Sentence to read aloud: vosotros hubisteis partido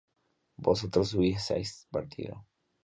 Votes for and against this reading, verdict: 1, 2, rejected